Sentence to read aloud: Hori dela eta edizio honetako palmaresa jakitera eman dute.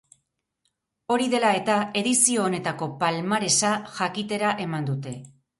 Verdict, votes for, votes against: accepted, 6, 0